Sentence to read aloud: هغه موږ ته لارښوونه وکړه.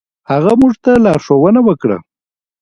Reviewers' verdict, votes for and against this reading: rejected, 1, 2